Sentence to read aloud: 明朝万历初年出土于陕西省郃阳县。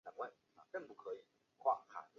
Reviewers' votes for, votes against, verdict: 1, 3, rejected